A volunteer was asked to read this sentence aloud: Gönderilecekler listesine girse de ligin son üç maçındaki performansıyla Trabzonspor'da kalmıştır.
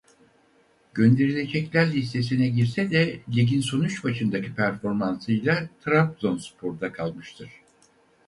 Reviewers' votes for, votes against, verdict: 2, 2, rejected